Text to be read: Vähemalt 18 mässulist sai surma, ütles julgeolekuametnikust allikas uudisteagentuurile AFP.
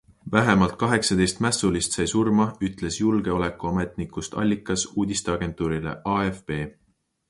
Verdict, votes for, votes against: rejected, 0, 2